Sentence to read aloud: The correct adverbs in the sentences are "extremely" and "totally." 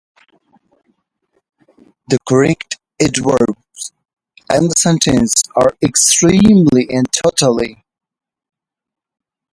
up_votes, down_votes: 0, 3